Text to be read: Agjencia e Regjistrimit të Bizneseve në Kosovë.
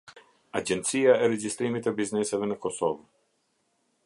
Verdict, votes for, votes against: accepted, 2, 0